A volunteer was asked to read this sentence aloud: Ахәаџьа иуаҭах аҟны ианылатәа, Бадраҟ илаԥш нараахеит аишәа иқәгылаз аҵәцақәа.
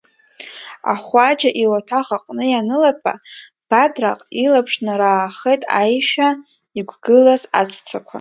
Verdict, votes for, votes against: accepted, 2, 0